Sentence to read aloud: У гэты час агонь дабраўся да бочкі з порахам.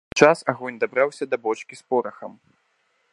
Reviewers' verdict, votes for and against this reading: rejected, 1, 2